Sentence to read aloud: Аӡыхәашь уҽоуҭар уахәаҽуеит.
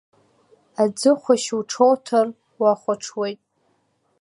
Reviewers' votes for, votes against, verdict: 2, 0, accepted